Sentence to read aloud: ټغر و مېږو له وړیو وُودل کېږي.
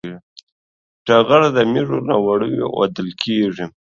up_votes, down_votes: 0, 2